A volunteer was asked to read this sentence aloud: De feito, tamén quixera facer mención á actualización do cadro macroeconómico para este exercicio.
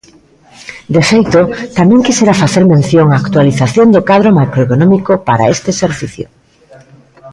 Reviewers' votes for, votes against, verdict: 0, 2, rejected